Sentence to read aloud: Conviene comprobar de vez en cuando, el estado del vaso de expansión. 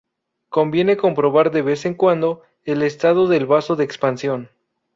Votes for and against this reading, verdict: 2, 2, rejected